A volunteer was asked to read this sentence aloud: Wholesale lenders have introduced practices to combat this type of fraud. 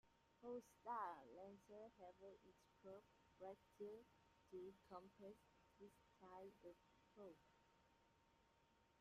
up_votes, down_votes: 0, 2